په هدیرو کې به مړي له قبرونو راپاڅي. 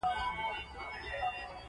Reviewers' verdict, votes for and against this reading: accepted, 2, 1